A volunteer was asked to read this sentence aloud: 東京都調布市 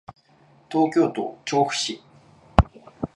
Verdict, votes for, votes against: accepted, 2, 0